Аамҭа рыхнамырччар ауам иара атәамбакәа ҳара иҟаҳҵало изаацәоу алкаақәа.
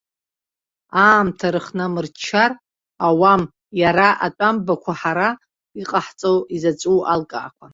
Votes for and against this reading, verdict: 1, 2, rejected